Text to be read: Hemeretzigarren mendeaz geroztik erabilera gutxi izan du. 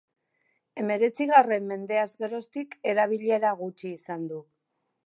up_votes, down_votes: 3, 0